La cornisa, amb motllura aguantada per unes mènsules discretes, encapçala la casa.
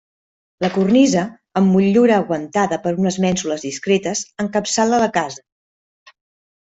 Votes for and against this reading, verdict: 2, 0, accepted